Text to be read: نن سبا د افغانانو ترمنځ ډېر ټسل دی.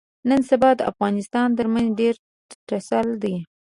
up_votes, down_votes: 2, 1